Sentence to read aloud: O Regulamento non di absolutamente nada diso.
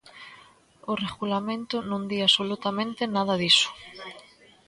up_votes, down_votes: 2, 1